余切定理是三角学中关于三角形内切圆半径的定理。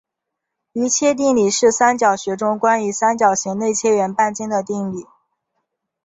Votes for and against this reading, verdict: 2, 0, accepted